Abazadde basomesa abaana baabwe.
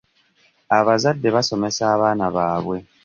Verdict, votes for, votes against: accepted, 2, 0